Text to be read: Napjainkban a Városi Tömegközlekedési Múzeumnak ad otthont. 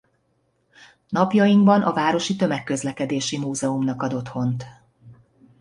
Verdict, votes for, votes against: accepted, 2, 0